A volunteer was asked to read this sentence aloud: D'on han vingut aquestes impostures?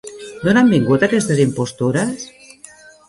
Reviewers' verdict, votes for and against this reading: rejected, 1, 2